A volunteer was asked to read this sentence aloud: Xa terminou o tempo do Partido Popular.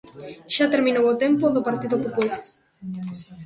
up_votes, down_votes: 2, 0